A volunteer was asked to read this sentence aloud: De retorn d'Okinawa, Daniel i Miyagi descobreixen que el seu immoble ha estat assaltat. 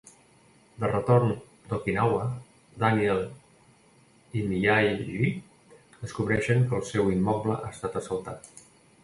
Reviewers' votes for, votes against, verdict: 1, 2, rejected